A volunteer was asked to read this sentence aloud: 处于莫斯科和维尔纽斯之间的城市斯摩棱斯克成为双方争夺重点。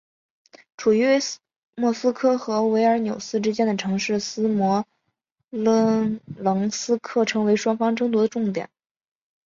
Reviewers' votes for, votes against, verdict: 3, 3, rejected